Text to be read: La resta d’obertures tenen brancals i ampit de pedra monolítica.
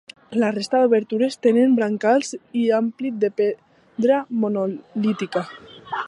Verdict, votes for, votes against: accepted, 2, 0